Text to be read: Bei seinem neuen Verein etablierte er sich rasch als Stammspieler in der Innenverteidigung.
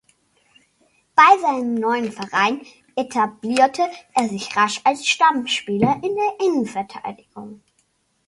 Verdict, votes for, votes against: accepted, 2, 0